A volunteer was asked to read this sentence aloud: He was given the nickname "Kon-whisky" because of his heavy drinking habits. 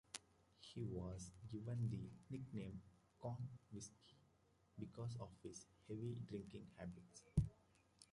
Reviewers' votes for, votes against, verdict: 0, 2, rejected